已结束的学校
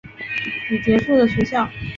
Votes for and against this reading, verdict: 1, 2, rejected